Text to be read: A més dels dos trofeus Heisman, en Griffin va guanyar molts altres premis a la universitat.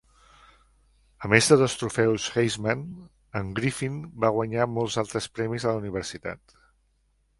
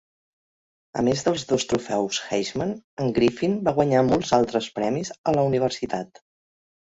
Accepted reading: second